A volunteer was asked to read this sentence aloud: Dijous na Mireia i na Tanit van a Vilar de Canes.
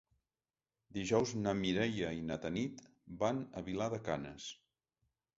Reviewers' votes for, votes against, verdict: 3, 0, accepted